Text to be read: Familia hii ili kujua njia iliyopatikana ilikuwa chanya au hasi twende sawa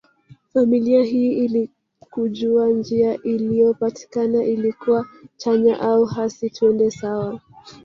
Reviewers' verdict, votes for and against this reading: rejected, 1, 2